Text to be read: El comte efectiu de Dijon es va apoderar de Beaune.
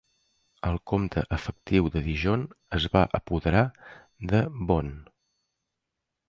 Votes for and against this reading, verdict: 2, 0, accepted